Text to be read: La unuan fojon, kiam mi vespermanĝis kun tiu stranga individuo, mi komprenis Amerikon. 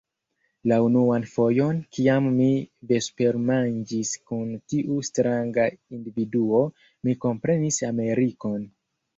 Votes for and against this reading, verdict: 2, 3, rejected